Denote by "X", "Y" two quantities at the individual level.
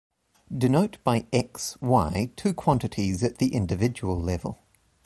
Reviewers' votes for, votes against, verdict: 2, 1, accepted